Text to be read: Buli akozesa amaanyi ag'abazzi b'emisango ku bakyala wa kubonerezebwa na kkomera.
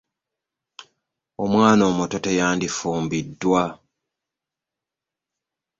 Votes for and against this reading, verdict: 0, 2, rejected